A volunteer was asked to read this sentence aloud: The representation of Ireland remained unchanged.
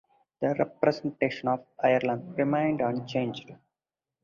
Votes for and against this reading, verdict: 6, 0, accepted